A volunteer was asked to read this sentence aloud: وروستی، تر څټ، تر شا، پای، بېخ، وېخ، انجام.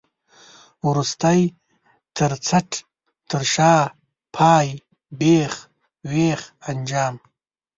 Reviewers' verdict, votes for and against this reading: accepted, 2, 0